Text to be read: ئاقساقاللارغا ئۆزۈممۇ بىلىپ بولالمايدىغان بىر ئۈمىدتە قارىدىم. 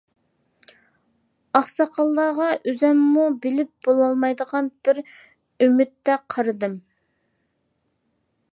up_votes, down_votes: 3, 0